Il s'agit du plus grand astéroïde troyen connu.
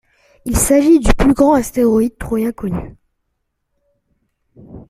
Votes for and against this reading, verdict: 2, 0, accepted